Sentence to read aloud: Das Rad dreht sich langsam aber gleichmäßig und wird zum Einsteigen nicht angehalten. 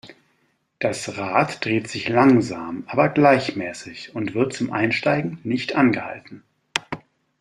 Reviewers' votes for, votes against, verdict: 2, 1, accepted